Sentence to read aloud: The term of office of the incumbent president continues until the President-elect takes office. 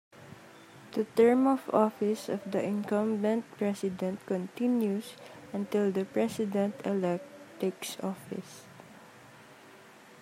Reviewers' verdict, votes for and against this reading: accepted, 2, 0